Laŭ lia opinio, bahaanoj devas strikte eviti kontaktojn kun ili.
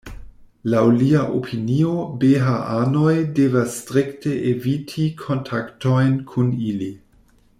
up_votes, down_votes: 1, 2